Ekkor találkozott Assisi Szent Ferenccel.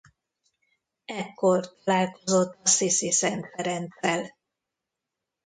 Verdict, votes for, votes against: rejected, 1, 2